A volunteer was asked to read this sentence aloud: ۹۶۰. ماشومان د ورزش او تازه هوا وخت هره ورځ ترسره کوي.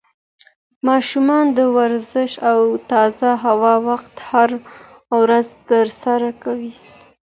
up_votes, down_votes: 0, 2